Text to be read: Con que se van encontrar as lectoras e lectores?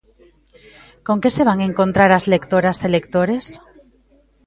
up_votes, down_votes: 1, 2